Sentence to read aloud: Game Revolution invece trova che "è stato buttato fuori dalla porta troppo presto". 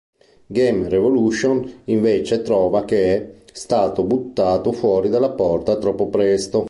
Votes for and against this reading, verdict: 2, 0, accepted